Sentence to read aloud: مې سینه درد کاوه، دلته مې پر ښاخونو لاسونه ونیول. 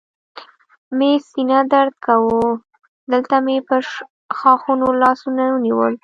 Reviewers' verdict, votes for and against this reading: rejected, 1, 2